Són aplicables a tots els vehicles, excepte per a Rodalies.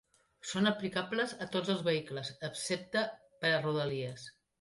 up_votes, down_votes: 3, 1